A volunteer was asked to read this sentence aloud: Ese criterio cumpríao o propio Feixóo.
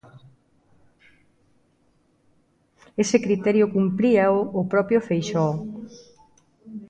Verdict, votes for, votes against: rejected, 0, 2